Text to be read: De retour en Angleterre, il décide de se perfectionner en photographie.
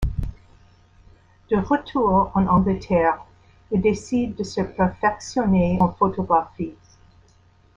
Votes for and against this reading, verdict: 0, 2, rejected